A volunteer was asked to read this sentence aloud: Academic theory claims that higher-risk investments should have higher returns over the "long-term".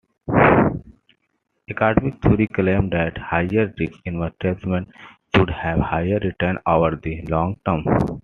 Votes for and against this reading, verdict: 2, 0, accepted